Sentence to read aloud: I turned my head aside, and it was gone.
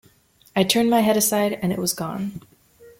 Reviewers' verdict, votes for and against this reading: accepted, 2, 0